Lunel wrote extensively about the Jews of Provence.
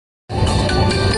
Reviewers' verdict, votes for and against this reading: rejected, 0, 2